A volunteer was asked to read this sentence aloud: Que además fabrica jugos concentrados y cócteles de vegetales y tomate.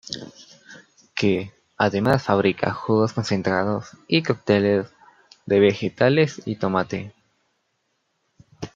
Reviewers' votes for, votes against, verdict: 1, 2, rejected